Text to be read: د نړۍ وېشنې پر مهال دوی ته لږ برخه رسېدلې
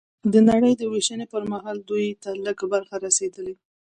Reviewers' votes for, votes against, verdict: 2, 0, accepted